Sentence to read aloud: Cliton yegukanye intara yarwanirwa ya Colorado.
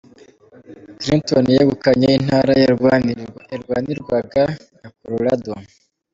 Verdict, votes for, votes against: rejected, 0, 2